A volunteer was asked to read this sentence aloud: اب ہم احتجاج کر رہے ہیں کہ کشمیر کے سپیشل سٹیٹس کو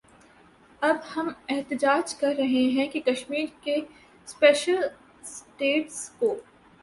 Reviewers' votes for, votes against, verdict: 2, 1, accepted